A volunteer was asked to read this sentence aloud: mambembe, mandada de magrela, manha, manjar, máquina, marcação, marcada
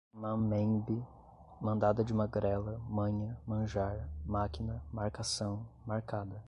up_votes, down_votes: 2, 0